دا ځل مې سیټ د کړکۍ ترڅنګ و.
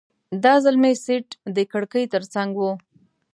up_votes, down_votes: 2, 0